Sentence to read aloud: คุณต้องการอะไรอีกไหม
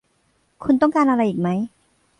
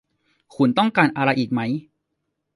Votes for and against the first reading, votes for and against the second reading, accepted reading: 1, 2, 2, 1, second